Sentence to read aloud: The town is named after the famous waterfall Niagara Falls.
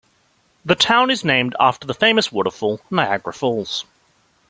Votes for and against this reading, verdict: 2, 1, accepted